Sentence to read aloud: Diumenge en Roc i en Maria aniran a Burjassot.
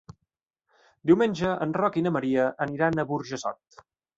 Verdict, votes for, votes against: rejected, 1, 2